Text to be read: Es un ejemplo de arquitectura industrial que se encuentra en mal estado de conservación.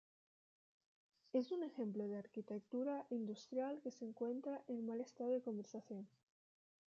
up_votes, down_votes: 1, 2